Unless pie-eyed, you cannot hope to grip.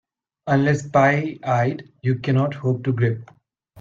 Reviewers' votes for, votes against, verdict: 2, 0, accepted